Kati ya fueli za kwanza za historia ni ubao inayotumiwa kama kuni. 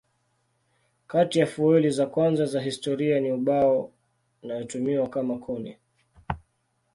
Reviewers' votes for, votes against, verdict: 2, 1, accepted